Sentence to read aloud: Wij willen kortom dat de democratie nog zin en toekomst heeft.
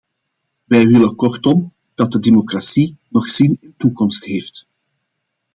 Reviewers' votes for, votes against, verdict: 0, 2, rejected